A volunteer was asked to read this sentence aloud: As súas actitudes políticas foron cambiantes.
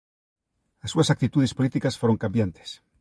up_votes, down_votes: 2, 0